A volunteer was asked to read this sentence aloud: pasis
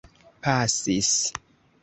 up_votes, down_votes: 2, 0